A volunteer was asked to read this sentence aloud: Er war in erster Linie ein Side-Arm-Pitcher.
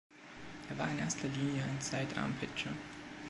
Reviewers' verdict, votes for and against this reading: accepted, 2, 1